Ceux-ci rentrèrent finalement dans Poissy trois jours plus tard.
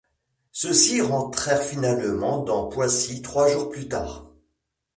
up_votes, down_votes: 2, 0